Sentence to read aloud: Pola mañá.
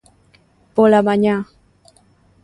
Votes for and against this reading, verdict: 2, 0, accepted